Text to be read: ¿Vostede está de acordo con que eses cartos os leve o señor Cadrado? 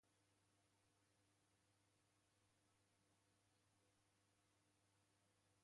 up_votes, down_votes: 0, 2